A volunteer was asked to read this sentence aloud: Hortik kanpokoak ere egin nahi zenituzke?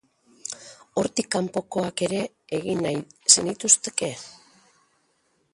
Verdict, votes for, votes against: rejected, 0, 2